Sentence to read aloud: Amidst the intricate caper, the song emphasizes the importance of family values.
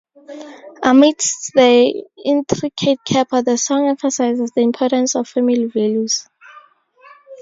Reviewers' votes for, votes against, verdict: 0, 4, rejected